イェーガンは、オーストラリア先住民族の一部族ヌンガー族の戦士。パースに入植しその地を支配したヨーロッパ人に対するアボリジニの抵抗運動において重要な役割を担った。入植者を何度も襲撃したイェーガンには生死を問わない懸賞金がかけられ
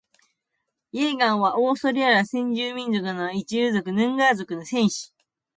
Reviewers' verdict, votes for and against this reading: accepted, 2, 1